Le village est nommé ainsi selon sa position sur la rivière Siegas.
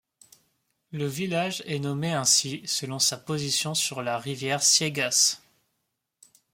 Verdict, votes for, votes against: accepted, 2, 0